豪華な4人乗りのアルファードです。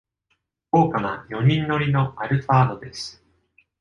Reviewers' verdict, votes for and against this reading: rejected, 0, 2